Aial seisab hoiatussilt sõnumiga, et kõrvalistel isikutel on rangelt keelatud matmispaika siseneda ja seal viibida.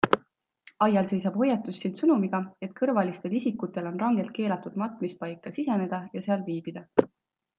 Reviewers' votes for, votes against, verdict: 2, 0, accepted